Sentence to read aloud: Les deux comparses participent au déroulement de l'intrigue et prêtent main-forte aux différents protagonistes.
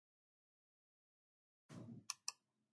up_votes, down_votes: 0, 2